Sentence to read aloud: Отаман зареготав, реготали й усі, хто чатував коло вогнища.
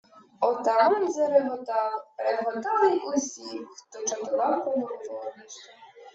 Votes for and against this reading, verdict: 0, 2, rejected